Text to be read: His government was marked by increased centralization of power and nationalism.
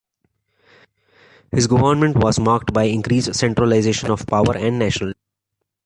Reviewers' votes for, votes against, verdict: 1, 3, rejected